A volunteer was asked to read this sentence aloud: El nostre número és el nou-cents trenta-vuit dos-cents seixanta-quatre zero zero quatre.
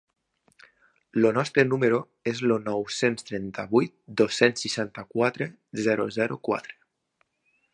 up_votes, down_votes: 1, 2